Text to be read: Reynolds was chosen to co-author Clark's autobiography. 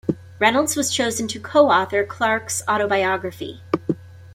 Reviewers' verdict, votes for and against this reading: rejected, 1, 2